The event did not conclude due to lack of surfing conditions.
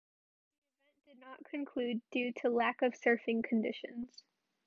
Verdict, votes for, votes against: rejected, 0, 2